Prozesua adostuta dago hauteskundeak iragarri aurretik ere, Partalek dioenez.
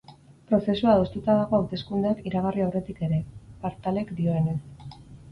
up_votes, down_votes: 4, 0